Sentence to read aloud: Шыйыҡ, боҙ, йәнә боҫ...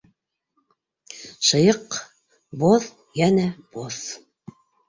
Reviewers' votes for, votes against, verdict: 2, 0, accepted